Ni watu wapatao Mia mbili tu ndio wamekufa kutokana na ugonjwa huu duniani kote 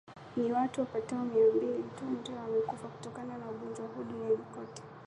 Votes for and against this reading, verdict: 0, 2, rejected